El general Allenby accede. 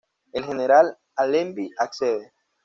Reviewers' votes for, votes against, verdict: 2, 0, accepted